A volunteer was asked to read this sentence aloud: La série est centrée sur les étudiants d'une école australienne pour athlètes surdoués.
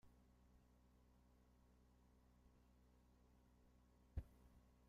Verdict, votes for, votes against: rejected, 0, 2